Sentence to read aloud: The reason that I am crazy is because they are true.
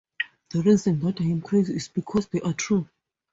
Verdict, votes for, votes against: accepted, 4, 0